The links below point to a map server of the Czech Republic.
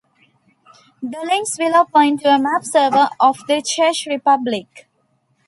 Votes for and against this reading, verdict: 1, 2, rejected